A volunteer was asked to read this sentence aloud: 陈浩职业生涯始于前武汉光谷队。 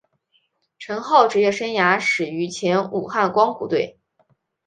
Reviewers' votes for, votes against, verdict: 5, 0, accepted